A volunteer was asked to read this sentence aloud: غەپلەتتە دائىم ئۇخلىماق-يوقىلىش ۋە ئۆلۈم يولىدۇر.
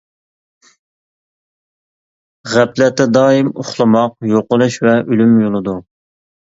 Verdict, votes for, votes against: accepted, 2, 0